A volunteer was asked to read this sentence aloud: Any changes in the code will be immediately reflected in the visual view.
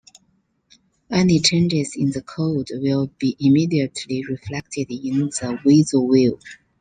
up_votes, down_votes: 0, 2